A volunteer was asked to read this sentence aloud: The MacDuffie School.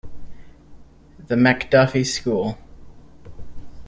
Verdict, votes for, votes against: accepted, 2, 0